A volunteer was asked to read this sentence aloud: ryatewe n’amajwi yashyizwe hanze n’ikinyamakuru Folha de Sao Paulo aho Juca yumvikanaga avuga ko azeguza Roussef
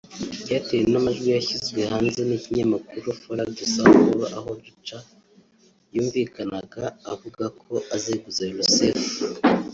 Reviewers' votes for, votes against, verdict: 1, 2, rejected